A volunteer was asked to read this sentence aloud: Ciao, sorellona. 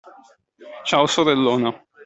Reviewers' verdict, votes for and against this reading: accepted, 2, 0